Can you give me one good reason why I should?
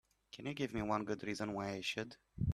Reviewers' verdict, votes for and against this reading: accepted, 2, 0